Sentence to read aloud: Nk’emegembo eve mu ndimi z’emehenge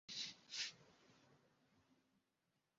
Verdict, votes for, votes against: rejected, 0, 2